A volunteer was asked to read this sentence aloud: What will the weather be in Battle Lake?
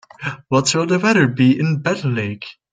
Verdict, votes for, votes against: rejected, 1, 2